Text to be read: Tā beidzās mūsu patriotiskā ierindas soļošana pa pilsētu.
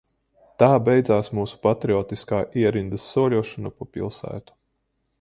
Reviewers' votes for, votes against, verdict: 2, 0, accepted